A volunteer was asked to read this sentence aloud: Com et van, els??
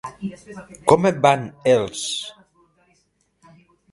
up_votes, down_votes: 3, 0